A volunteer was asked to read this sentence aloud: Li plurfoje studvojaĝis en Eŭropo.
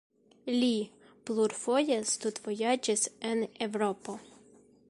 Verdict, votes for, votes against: rejected, 0, 2